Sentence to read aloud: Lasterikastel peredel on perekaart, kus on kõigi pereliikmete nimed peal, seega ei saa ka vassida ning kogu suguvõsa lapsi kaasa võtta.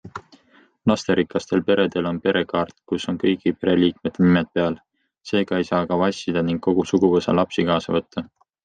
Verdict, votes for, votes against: accepted, 2, 0